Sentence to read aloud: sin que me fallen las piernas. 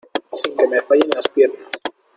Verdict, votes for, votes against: accepted, 2, 1